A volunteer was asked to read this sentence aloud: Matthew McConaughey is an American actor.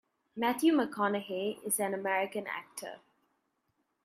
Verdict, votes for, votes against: accepted, 2, 0